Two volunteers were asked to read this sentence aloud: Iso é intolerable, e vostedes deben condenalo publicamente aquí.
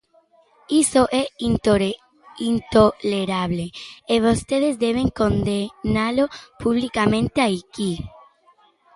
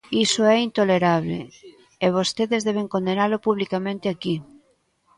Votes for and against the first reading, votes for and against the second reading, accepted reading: 0, 2, 2, 0, second